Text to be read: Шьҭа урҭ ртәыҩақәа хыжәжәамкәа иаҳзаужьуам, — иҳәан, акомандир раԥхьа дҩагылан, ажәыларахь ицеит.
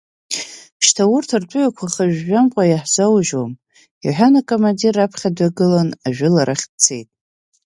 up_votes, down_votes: 2, 0